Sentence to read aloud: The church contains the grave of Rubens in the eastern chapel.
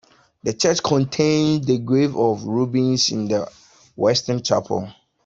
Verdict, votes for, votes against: rejected, 0, 2